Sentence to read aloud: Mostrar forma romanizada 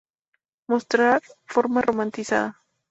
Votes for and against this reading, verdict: 4, 0, accepted